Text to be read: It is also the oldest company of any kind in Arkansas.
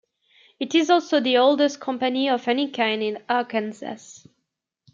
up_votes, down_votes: 1, 2